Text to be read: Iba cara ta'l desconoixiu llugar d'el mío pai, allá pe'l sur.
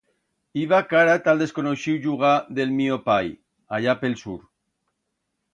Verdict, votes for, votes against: accepted, 2, 0